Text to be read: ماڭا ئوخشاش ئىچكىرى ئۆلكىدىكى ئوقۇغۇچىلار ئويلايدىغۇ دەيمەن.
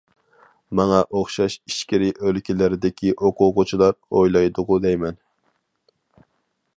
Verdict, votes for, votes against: rejected, 0, 2